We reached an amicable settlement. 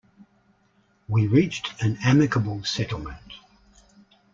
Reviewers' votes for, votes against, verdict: 2, 0, accepted